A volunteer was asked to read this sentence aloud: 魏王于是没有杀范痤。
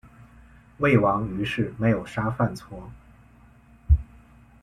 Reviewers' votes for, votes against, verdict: 2, 0, accepted